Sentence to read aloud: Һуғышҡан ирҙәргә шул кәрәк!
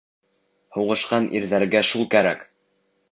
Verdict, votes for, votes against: accepted, 2, 1